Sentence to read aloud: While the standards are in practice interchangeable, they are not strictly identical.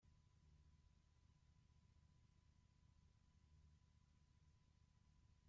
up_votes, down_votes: 0, 2